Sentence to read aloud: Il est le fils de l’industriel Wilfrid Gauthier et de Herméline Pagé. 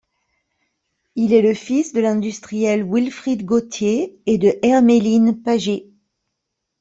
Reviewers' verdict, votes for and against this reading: accepted, 2, 0